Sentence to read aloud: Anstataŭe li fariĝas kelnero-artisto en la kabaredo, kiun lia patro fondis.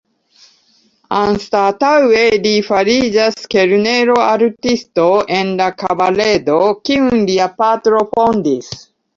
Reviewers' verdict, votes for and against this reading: rejected, 1, 2